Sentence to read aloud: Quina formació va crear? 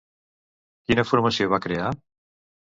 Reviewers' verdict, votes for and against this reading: accepted, 2, 0